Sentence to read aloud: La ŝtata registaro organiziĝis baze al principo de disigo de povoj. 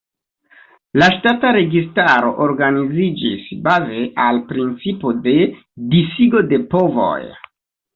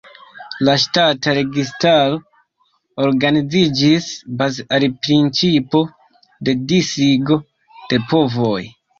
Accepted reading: first